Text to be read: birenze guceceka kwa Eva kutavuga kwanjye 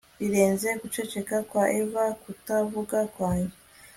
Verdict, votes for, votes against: accepted, 2, 0